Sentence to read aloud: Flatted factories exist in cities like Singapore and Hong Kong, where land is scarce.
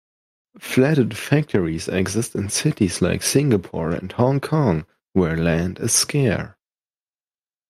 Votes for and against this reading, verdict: 0, 2, rejected